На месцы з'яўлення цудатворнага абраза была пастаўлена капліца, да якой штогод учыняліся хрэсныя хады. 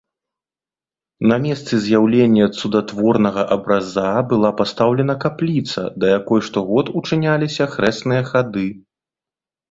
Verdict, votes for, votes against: rejected, 1, 2